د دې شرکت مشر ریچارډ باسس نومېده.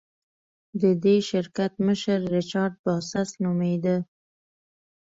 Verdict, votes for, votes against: accepted, 2, 0